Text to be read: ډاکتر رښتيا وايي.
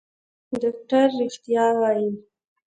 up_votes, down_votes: 1, 2